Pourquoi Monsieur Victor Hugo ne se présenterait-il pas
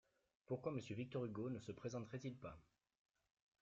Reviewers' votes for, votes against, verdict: 2, 0, accepted